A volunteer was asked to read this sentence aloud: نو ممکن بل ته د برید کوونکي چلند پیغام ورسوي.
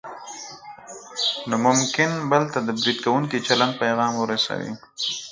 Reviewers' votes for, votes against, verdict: 2, 4, rejected